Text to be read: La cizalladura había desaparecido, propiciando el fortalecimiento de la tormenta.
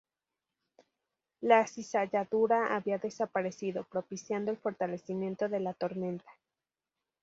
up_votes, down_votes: 2, 0